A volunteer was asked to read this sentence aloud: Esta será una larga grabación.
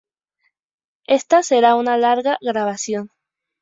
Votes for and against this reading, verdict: 2, 0, accepted